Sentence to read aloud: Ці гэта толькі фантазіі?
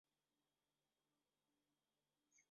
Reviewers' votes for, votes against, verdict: 0, 2, rejected